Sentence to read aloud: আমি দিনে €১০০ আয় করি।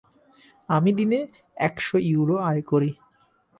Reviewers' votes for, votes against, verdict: 0, 2, rejected